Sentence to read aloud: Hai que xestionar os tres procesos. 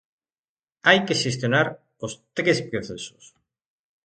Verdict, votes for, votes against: rejected, 0, 2